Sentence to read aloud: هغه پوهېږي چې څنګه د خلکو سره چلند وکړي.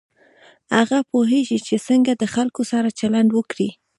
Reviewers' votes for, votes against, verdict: 2, 0, accepted